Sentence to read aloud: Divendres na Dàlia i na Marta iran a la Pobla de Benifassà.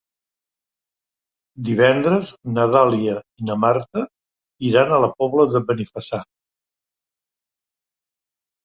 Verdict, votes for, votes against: accepted, 3, 0